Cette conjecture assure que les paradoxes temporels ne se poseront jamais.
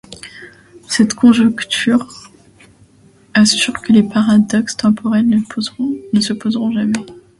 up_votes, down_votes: 0, 2